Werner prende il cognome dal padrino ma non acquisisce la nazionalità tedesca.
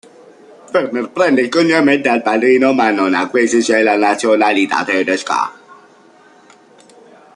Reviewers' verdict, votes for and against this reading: rejected, 0, 2